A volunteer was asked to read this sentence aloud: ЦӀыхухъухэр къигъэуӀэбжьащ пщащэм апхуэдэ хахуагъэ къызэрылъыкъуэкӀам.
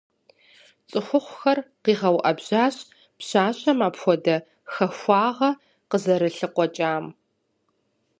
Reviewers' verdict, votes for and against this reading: accepted, 4, 0